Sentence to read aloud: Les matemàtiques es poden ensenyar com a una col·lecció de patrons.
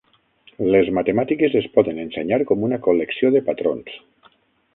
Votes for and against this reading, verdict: 3, 6, rejected